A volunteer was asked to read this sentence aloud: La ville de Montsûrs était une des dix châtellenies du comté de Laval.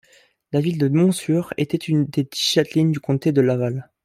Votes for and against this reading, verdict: 1, 2, rejected